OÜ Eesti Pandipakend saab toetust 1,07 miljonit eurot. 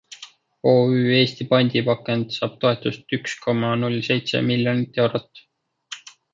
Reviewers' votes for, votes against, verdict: 0, 2, rejected